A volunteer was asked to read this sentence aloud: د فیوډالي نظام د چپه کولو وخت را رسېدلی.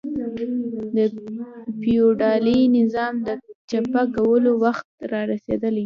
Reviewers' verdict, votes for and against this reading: rejected, 1, 2